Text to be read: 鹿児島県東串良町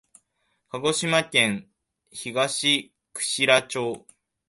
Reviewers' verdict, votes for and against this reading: accepted, 2, 0